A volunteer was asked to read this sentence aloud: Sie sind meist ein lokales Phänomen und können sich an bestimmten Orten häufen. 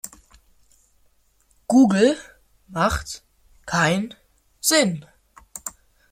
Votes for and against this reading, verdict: 0, 2, rejected